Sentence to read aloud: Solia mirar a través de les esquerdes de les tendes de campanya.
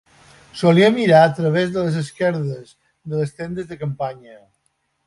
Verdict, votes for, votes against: accepted, 2, 0